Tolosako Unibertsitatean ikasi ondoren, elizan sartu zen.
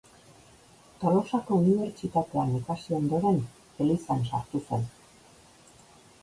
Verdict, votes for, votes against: accepted, 3, 0